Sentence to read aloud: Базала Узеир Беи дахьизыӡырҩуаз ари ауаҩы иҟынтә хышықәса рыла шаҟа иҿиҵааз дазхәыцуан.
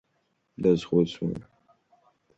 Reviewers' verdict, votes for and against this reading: rejected, 0, 2